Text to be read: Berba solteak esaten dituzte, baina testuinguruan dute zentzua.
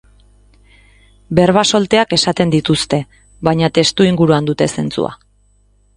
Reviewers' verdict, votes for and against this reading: accepted, 2, 0